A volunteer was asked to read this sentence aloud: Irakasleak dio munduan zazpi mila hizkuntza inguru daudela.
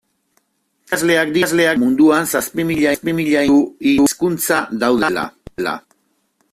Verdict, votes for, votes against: rejected, 0, 2